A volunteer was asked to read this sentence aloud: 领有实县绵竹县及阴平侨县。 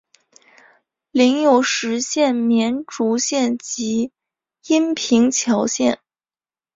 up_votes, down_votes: 3, 0